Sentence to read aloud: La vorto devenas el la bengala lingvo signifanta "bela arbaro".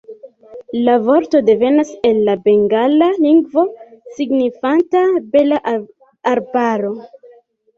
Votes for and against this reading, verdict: 0, 2, rejected